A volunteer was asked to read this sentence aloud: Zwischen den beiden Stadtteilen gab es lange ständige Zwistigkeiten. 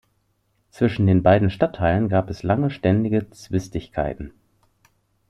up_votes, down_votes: 2, 0